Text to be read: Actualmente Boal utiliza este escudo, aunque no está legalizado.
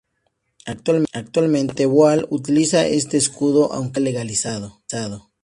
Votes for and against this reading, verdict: 0, 2, rejected